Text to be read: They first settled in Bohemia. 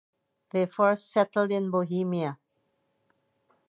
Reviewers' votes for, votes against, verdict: 4, 0, accepted